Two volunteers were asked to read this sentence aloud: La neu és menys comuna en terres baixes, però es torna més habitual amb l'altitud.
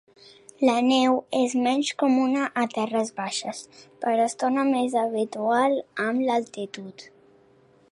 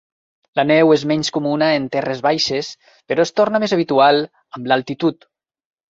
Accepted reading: second